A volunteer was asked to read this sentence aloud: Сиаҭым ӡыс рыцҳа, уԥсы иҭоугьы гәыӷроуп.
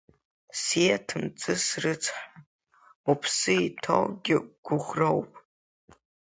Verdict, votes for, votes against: rejected, 2, 3